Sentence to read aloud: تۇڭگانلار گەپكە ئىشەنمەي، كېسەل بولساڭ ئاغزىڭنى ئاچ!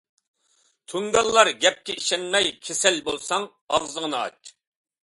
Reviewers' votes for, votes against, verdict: 2, 0, accepted